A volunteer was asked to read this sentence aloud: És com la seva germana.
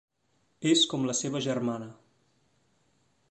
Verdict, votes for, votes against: accepted, 3, 1